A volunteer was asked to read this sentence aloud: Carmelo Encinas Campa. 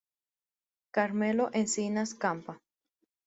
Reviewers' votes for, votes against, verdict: 1, 2, rejected